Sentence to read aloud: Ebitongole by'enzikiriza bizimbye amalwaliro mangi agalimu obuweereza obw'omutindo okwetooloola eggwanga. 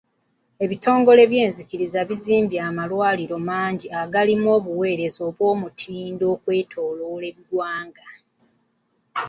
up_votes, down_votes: 2, 0